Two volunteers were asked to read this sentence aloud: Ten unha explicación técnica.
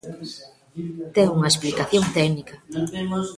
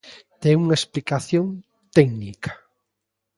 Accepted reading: second